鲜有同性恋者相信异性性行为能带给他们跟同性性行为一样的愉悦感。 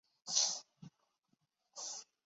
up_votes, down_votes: 0, 2